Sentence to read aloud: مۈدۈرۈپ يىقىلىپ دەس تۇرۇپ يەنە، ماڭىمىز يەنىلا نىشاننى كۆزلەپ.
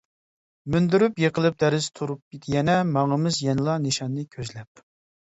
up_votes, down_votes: 0, 2